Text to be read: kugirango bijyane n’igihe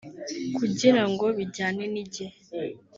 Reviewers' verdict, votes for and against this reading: rejected, 1, 2